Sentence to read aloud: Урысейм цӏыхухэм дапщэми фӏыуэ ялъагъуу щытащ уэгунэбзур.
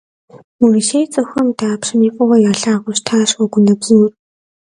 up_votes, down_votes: 2, 0